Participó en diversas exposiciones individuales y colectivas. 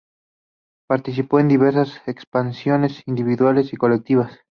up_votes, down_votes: 0, 2